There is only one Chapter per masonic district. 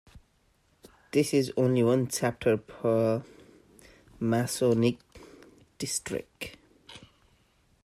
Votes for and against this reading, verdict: 1, 2, rejected